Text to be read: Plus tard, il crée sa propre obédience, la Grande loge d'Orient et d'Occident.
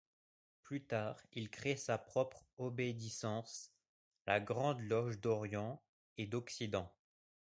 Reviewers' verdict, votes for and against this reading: rejected, 0, 2